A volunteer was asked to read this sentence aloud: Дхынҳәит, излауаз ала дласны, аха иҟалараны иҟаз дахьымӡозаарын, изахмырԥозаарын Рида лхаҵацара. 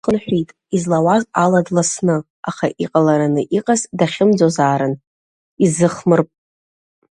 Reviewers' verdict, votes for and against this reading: rejected, 0, 2